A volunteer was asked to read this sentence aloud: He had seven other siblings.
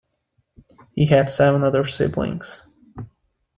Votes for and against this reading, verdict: 2, 0, accepted